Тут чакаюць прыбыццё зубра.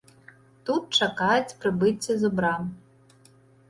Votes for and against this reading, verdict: 0, 2, rejected